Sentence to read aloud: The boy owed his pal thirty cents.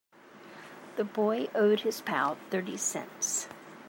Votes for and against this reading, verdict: 2, 0, accepted